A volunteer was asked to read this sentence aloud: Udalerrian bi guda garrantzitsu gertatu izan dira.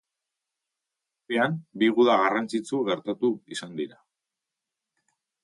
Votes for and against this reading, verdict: 0, 2, rejected